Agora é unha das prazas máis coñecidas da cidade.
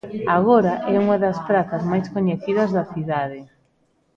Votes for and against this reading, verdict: 1, 2, rejected